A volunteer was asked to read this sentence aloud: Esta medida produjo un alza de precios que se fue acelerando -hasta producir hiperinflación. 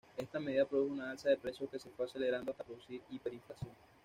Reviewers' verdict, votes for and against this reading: rejected, 1, 2